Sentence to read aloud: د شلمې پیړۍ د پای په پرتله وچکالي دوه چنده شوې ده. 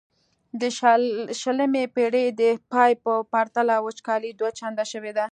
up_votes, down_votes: 2, 0